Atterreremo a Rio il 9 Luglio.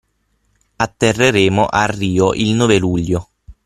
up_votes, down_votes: 0, 2